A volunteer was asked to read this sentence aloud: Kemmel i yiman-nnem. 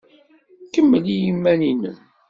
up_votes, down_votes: 2, 0